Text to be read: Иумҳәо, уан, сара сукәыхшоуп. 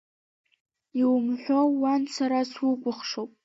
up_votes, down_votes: 0, 2